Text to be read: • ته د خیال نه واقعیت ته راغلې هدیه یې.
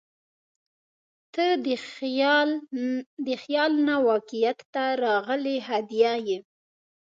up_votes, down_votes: 2, 0